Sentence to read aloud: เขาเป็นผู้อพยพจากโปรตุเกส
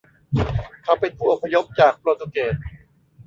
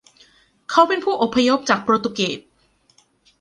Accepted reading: second